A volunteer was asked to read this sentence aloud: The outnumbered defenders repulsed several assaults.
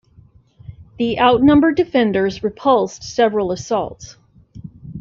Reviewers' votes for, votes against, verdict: 2, 0, accepted